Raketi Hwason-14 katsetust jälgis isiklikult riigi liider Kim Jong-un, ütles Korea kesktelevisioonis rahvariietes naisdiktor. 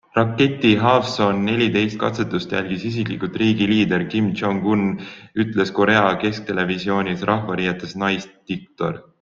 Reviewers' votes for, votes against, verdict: 0, 2, rejected